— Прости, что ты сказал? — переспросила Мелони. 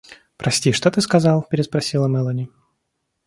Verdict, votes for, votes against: accepted, 2, 0